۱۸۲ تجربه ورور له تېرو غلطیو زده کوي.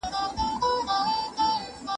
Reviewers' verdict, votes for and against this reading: rejected, 0, 2